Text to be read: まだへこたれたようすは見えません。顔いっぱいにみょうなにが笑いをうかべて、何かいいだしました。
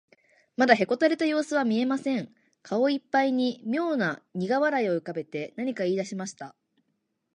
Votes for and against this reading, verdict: 2, 0, accepted